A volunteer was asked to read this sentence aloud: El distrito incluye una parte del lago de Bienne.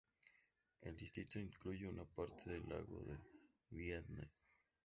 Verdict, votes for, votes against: accepted, 2, 0